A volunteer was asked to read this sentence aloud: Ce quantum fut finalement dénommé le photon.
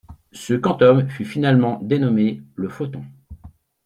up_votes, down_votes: 1, 2